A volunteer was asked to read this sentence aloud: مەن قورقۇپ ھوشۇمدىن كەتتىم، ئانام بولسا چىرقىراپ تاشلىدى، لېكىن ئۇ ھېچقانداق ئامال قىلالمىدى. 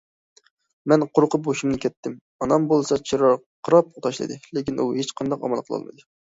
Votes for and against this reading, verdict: 0, 2, rejected